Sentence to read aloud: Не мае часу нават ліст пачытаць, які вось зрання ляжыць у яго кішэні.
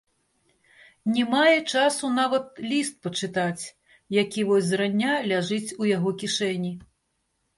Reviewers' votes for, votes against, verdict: 1, 2, rejected